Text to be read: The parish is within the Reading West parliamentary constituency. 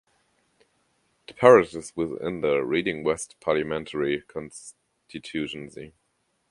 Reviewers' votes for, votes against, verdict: 0, 2, rejected